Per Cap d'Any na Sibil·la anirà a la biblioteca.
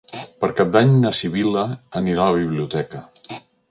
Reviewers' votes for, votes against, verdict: 3, 0, accepted